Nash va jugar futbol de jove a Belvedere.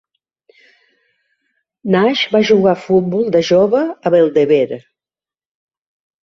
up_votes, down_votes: 0, 2